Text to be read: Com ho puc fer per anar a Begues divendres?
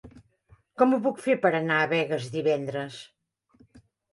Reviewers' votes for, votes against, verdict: 3, 0, accepted